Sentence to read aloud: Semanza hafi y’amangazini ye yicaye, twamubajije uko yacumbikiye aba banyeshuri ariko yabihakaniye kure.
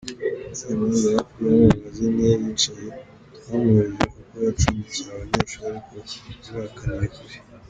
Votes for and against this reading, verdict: 2, 1, accepted